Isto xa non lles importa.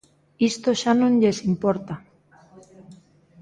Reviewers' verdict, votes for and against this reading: accepted, 2, 0